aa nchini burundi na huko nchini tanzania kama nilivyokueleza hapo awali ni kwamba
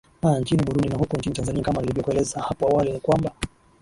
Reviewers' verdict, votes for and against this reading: rejected, 1, 2